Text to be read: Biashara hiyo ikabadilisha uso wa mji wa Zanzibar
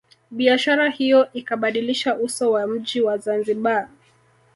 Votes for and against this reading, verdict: 0, 2, rejected